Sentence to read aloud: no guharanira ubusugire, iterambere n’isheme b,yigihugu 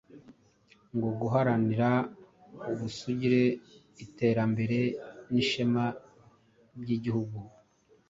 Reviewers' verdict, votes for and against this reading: rejected, 1, 2